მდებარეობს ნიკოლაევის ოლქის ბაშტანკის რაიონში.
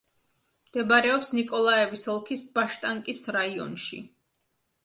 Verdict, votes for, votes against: accepted, 2, 0